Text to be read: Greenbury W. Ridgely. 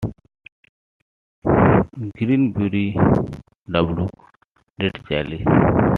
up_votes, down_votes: 1, 2